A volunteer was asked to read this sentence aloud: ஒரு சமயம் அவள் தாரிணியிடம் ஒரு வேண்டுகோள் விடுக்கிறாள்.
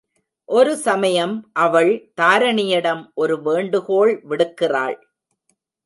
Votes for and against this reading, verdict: 0, 2, rejected